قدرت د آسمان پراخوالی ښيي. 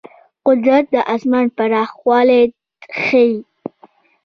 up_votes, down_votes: 2, 0